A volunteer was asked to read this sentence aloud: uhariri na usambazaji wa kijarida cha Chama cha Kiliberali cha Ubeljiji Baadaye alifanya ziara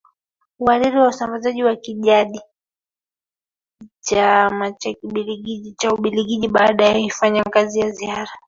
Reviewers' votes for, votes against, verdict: 1, 2, rejected